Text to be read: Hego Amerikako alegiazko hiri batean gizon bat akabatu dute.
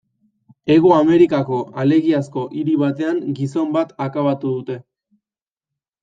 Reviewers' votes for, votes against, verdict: 2, 0, accepted